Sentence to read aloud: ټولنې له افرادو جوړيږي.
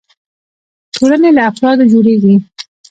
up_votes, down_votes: 1, 2